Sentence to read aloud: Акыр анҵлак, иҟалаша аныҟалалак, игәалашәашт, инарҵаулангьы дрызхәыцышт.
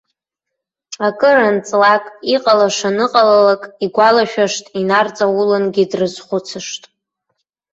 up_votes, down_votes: 2, 0